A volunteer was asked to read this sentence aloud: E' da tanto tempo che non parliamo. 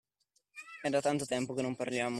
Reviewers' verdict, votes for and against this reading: accepted, 2, 1